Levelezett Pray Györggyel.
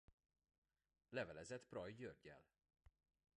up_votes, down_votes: 1, 2